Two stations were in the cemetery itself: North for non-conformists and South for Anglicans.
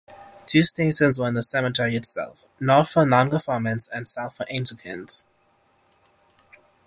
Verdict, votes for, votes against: rejected, 3, 3